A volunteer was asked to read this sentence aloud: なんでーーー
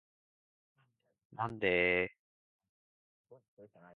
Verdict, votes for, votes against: accepted, 2, 0